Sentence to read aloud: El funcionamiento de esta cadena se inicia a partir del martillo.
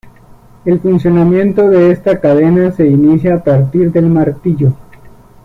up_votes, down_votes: 2, 0